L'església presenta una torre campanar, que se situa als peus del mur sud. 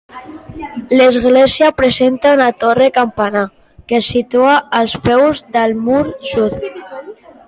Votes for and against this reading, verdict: 1, 2, rejected